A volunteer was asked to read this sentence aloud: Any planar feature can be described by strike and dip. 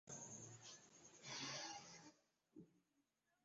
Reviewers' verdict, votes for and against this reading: rejected, 0, 2